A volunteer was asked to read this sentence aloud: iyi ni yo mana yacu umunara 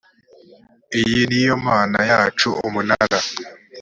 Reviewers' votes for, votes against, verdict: 2, 0, accepted